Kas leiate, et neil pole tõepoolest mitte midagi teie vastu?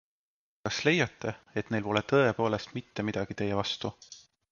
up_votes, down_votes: 2, 0